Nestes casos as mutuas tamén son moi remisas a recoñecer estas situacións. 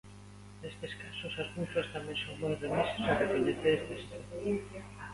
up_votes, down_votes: 0, 2